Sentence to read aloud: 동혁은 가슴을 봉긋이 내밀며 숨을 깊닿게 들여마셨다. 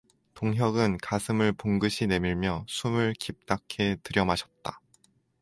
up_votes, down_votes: 4, 0